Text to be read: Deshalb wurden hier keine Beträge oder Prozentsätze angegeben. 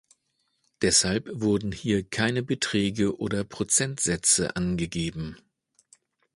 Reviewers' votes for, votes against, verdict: 2, 0, accepted